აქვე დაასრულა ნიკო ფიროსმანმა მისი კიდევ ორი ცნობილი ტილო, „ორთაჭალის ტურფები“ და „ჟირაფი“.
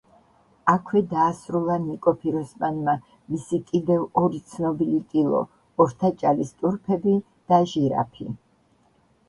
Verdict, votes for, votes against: accepted, 3, 0